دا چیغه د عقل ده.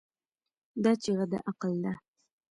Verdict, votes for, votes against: rejected, 0, 2